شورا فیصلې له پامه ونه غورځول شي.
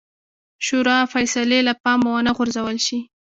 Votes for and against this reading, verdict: 1, 2, rejected